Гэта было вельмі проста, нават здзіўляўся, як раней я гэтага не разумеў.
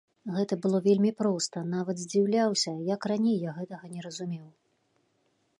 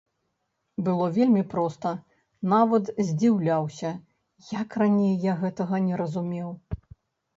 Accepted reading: first